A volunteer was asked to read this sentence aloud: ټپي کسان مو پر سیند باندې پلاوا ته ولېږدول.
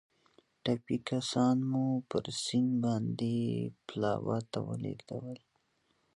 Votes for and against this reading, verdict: 3, 0, accepted